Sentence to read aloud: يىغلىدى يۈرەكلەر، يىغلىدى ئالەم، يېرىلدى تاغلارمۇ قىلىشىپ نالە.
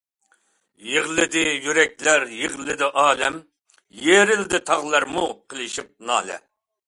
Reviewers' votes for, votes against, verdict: 2, 0, accepted